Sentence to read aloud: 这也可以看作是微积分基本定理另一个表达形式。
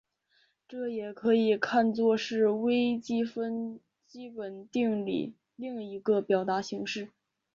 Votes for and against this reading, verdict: 10, 0, accepted